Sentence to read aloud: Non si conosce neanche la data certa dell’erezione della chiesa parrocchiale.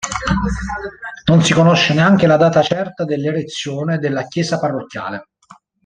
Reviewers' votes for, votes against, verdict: 1, 2, rejected